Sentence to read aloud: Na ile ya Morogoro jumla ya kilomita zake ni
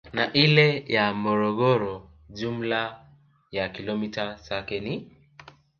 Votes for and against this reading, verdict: 0, 2, rejected